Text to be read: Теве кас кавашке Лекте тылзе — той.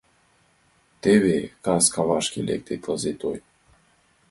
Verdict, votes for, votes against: accepted, 2, 1